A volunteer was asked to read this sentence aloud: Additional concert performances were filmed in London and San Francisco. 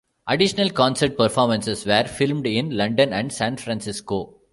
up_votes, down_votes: 2, 0